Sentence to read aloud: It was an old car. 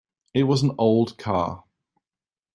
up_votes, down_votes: 1, 2